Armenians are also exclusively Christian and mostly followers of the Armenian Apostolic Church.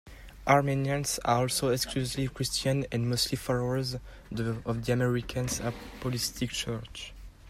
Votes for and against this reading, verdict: 0, 2, rejected